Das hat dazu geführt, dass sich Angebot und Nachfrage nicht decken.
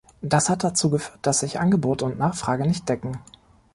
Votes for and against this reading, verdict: 1, 2, rejected